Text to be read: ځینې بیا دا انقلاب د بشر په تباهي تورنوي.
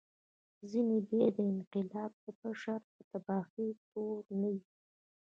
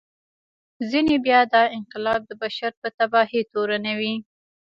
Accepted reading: second